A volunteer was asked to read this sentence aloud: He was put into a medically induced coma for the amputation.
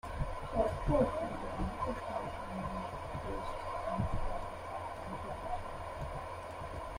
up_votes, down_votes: 0, 2